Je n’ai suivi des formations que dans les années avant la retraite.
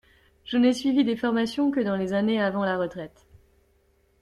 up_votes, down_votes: 2, 0